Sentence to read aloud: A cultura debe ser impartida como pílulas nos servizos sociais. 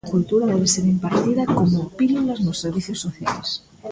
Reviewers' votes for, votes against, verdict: 1, 2, rejected